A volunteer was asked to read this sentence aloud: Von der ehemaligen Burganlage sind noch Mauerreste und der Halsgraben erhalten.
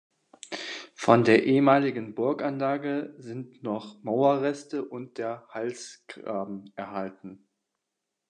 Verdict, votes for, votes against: rejected, 1, 2